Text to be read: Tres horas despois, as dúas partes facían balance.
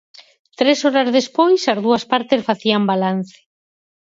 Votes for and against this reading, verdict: 4, 0, accepted